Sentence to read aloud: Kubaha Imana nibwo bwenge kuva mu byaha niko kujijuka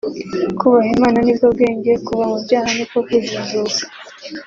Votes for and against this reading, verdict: 2, 1, accepted